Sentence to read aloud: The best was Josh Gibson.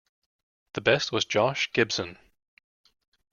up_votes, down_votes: 2, 0